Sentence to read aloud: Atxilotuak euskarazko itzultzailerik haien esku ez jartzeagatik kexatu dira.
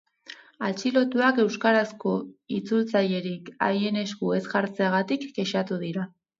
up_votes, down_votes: 4, 0